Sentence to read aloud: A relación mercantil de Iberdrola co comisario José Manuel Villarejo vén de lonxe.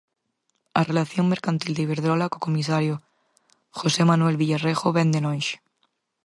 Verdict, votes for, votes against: accepted, 4, 2